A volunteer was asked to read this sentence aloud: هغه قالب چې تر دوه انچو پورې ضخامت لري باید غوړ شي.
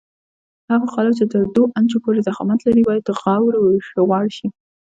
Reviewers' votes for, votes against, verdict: 2, 0, accepted